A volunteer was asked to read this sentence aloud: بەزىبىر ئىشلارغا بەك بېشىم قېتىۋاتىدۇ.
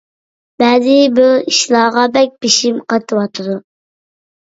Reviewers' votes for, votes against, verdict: 2, 0, accepted